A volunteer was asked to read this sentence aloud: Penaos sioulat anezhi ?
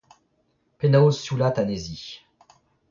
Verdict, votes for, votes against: rejected, 0, 2